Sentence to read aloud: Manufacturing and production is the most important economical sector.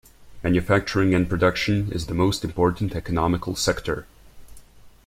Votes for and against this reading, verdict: 2, 0, accepted